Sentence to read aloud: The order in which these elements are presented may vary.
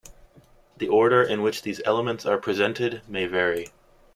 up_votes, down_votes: 2, 0